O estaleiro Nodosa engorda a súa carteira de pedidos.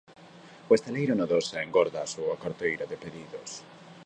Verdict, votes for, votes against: accepted, 2, 0